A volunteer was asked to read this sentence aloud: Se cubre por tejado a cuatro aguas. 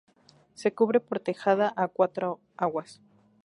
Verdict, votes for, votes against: rejected, 0, 2